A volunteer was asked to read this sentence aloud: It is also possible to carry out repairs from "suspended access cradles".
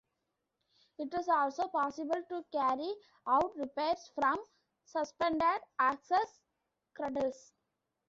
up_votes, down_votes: 0, 2